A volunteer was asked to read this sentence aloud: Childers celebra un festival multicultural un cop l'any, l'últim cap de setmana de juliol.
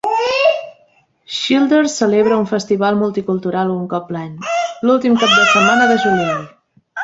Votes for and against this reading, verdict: 2, 1, accepted